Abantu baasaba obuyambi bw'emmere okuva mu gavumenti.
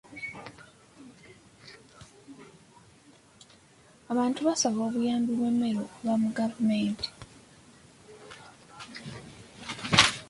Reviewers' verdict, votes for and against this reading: rejected, 0, 2